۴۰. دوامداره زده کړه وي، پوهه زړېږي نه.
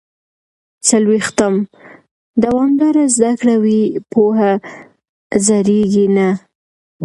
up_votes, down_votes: 0, 2